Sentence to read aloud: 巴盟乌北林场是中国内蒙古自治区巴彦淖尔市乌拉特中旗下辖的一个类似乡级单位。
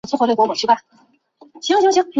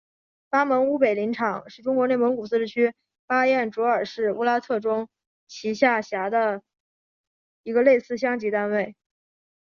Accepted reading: second